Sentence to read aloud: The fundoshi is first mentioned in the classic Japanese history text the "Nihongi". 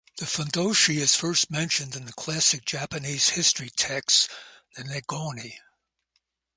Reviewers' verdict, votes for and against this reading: rejected, 0, 2